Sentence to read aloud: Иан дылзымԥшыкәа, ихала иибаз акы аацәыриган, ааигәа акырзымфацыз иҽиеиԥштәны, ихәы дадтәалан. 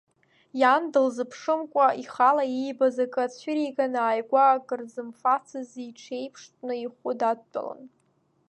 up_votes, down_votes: 1, 2